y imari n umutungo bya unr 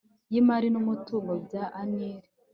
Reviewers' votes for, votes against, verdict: 3, 0, accepted